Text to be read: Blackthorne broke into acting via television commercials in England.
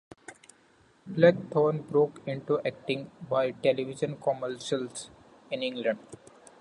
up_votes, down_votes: 2, 1